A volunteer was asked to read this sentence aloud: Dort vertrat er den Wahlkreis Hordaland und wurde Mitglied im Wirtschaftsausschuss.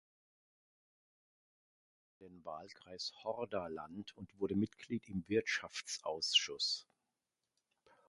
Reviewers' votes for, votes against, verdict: 0, 2, rejected